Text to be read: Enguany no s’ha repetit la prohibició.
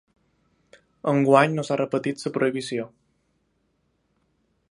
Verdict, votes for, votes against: rejected, 0, 2